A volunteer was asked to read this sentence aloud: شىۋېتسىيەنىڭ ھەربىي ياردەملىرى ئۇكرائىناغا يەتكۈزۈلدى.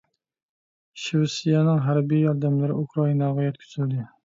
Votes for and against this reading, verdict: 2, 0, accepted